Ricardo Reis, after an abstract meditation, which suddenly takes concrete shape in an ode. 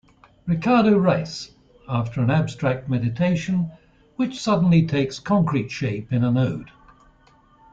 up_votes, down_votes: 2, 0